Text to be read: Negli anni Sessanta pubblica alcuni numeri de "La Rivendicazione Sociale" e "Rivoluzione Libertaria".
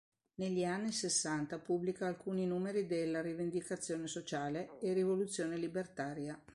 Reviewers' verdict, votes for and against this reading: accepted, 2, 0